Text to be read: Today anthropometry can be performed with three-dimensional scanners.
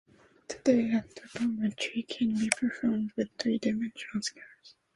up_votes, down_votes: 2, 0